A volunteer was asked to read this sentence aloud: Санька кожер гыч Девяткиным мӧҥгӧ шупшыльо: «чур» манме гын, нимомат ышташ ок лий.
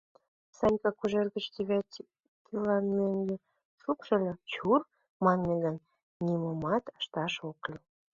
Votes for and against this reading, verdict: 1, 2, rejected